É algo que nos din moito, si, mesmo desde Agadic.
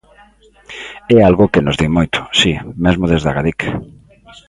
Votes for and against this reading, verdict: 2, 0, accepted